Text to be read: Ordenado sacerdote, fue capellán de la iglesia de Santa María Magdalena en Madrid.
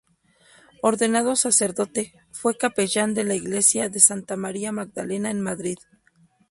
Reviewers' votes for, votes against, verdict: 2, 0, accepted